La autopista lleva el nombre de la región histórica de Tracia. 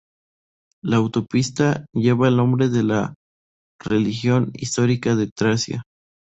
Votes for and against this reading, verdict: 0, 2, rejected